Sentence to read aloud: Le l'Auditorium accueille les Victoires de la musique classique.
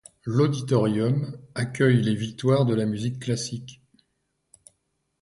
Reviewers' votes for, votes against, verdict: 1, 2, rejected